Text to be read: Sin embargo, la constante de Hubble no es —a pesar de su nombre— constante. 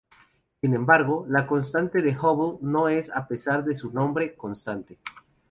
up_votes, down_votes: 2, 2